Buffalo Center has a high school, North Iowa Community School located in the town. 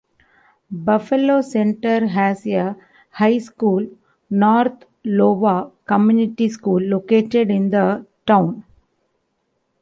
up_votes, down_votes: 0, 2